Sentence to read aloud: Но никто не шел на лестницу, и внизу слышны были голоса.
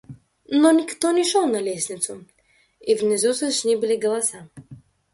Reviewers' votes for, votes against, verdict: 0, 2, rejected